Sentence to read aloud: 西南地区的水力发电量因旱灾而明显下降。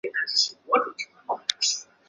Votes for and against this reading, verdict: 1, 4, rejected